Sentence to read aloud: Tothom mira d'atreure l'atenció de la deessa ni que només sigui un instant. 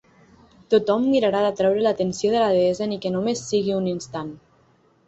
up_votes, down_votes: 3, 6